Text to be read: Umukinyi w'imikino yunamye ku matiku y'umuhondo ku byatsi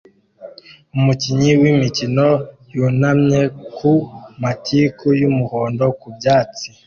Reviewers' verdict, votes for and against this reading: accepted, 2, 0